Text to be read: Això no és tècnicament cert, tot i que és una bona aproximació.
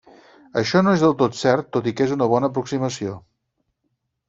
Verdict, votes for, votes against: rejected, 0, 4